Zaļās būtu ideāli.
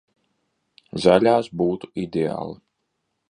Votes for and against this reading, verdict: 2, 0, accepted